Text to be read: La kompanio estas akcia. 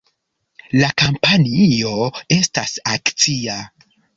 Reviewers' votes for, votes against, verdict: 0, 2, rejected